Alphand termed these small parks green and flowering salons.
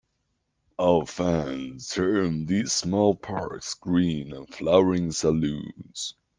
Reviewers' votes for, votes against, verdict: 2, 1, accepted